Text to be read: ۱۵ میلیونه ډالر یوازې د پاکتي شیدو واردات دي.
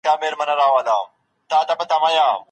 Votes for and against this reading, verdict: 0, 2, rejected